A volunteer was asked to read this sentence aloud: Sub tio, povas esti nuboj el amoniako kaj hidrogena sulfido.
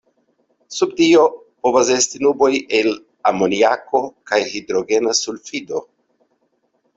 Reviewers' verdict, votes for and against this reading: accepted, 2, 0